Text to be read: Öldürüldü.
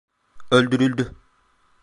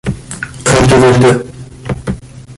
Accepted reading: first